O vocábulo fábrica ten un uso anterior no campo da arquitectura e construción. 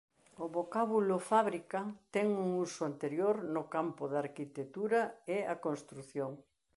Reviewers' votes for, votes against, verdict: 0, 2, rejected